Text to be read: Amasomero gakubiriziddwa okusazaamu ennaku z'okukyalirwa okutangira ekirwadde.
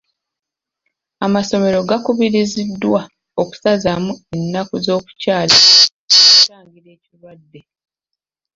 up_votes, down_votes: 1, 2